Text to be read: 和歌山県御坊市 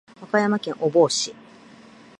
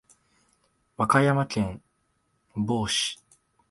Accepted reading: first